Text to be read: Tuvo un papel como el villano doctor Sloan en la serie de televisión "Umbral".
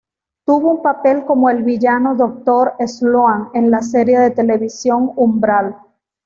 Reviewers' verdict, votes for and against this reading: accepted, 2, 0